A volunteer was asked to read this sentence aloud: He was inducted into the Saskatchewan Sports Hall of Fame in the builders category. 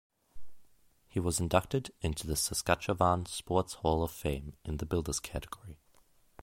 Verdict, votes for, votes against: accepted, 2, 0